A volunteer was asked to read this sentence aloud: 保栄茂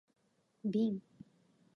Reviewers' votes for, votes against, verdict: 0, 2, rejected